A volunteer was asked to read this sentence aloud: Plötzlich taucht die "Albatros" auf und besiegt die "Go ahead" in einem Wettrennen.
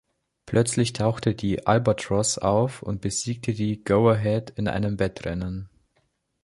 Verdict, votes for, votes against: accepted, 2, 1